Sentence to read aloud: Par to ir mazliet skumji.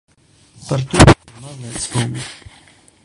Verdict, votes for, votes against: rejected, 0, 2